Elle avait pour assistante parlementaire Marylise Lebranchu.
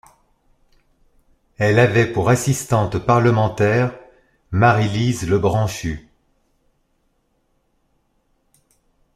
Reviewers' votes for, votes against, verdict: 3, 0, accepted